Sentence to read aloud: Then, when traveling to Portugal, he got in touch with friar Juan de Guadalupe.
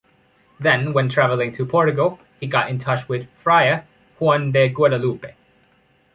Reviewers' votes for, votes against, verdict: 0, 2, rejected